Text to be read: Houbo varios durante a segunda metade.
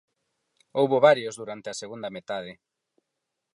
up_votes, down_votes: 4, 0